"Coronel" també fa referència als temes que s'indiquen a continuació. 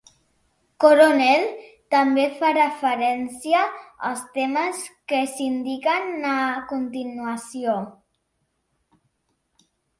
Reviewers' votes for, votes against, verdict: 3, 0, accepted